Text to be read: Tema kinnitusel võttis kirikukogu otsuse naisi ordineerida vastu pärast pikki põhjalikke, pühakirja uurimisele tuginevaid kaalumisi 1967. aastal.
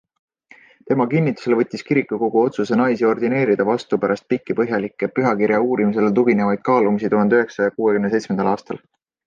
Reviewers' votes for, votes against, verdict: 0, 2, rejected